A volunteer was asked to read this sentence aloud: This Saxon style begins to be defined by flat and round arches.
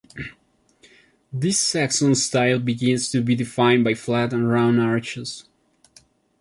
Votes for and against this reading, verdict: 2, 0, accepted